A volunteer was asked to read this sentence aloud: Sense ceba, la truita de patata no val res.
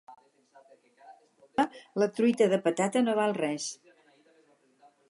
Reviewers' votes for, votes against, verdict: 2, 4, rejected